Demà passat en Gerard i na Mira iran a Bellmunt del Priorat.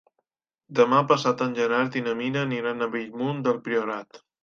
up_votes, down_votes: 0, 2